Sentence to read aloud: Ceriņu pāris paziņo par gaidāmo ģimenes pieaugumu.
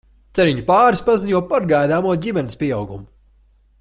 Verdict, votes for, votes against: accepted, 2, 0